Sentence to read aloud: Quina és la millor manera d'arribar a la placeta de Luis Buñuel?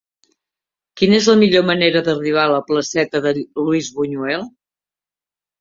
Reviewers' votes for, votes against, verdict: 2, 1, accepted